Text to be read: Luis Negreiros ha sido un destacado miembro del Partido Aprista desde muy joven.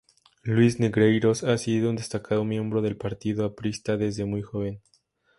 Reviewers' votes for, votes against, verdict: 2, 0, accepted